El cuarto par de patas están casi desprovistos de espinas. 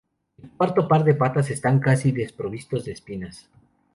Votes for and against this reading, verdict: 2, 0, accepted